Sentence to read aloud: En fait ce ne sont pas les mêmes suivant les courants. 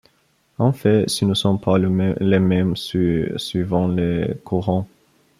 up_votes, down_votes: 0, 2